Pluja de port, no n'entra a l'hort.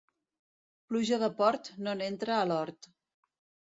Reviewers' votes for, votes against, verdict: 2, 0, accepted